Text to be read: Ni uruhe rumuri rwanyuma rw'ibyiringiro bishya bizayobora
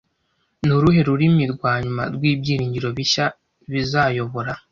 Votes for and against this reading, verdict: 1, 2, rejected